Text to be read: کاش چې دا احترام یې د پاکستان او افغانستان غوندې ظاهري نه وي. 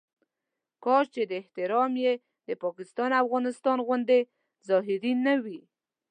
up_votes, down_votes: 2, 1